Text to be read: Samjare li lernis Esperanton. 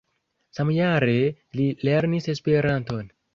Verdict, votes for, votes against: accepted, 2, 0